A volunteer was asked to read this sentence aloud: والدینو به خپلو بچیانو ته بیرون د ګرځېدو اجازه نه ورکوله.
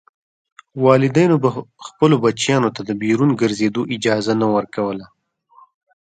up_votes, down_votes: 2, 0